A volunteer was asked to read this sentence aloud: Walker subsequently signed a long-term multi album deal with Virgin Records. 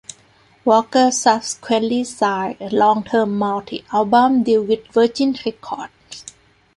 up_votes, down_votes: 2, 0